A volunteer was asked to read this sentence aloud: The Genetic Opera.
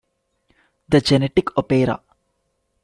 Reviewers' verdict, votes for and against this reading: accepted, 2, 1